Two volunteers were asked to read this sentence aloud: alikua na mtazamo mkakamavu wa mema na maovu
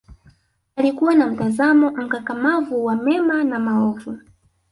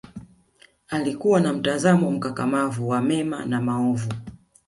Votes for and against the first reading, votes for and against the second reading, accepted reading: 1, 2, 2, 0, second